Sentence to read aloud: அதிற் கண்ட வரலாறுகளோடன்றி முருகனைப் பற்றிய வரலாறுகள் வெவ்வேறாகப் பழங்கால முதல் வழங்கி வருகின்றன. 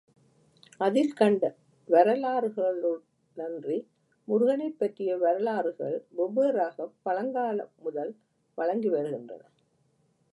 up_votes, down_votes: 0, 2